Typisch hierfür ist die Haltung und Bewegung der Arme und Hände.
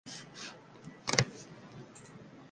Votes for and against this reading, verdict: 0, 2, rejected